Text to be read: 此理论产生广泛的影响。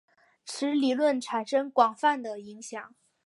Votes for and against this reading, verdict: 2, 0, accepted